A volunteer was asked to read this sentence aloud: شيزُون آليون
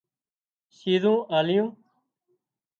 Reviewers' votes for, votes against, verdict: 2, 0, accepted